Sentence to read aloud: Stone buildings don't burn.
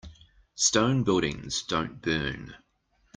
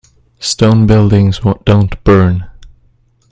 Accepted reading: first